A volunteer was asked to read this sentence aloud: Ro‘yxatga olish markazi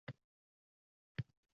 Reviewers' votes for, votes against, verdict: 0, 2, rejected